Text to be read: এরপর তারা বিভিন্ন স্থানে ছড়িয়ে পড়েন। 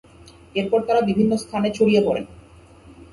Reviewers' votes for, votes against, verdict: 0, 2, rejected